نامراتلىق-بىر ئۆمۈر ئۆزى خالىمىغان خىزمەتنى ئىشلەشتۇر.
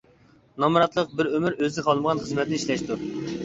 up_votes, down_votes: 2, 1